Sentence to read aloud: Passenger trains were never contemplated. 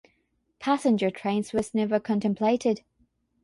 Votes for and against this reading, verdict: 3, 3, rejected